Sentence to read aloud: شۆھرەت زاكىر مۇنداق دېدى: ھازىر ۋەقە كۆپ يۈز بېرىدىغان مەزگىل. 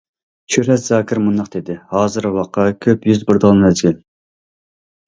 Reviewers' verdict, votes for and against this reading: rejected, 1, 2